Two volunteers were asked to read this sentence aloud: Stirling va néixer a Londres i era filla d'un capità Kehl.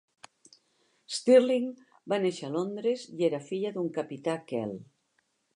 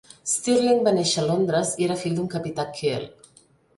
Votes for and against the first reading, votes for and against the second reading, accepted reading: 2, 0, 0, 3, first